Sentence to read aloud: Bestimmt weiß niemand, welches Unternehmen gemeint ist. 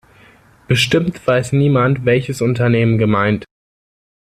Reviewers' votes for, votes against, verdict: 1, 2, rejected